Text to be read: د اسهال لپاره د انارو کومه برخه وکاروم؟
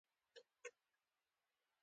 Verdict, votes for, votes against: accepted, 2, 1